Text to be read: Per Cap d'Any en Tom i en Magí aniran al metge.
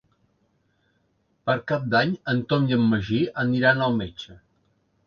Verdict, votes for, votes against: accepted, 3, 0